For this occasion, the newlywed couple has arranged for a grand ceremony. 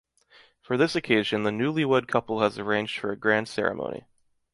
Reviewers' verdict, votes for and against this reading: accepted, 2, 0